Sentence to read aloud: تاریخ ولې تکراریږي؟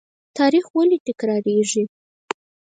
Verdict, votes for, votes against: rejected, 2, 4